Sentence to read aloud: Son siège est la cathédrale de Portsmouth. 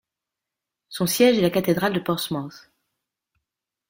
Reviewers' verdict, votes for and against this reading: accepted, 2, 0